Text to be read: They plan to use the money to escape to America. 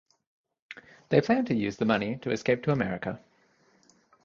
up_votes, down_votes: 2, 0